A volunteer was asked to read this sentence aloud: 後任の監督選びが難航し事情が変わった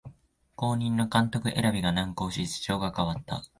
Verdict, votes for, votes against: accepted, 5, 0